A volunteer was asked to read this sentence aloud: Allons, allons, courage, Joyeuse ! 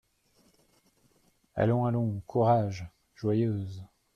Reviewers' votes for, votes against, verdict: 2, 0, accepted